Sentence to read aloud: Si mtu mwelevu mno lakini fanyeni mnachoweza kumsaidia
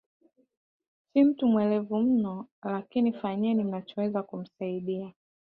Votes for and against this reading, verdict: 1, 2, rejected